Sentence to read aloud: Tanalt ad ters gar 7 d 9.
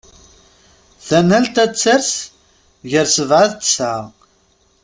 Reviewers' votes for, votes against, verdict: 0, 2, rejected